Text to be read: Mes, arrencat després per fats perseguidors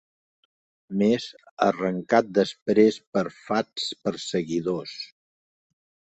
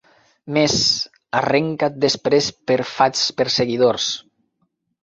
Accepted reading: first